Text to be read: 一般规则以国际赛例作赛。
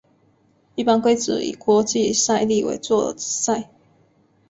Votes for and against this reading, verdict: 0, 2, rejected